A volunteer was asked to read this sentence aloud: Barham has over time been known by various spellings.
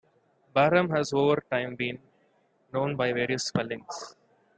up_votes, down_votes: 2, 0